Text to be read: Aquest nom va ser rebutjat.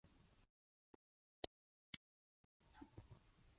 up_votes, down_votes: 0, 4